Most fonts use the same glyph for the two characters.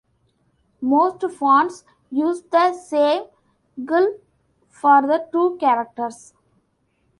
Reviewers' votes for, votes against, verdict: 1, 2, rejected